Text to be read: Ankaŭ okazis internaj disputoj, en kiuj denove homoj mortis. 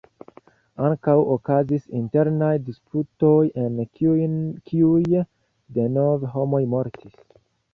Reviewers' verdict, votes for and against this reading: rejected, 1, 2